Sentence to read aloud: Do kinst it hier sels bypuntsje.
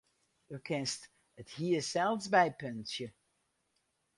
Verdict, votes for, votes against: rejected, 0, 2